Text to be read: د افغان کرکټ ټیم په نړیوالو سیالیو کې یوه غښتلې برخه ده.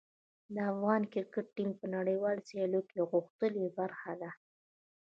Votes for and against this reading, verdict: 2, 0, accepted